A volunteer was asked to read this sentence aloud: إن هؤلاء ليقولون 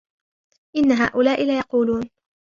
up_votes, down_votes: 2, 0